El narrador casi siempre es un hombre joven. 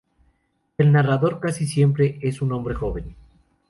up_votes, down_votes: 2, 0